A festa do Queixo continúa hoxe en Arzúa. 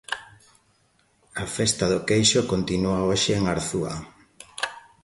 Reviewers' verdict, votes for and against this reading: accepted, 2, 0